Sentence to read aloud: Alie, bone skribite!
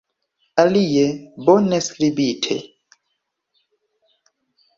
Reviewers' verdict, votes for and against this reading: accepted, 3, 0